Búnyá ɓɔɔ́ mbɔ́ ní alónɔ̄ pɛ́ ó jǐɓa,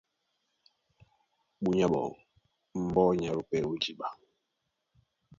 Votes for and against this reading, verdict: 2, 0, accepted